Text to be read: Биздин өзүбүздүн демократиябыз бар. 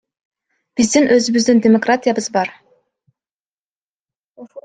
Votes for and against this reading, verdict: 1, 2, rejected